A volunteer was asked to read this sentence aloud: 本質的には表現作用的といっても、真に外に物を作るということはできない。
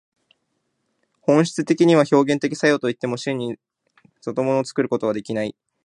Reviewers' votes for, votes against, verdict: 1, 2, rejected